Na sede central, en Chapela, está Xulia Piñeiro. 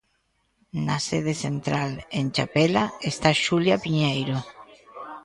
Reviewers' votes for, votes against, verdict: 2, 0, accepted